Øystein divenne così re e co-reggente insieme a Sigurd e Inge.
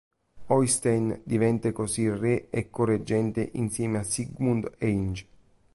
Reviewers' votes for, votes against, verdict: 0, 2, rejected